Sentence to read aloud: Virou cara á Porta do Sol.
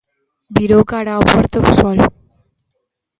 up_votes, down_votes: 0, 2